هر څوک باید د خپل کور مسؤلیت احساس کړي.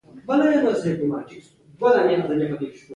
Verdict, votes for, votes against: rejected, 0, 2